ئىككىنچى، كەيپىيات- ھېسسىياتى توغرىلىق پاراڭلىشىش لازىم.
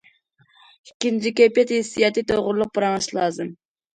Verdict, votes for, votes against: accepted, 2, 0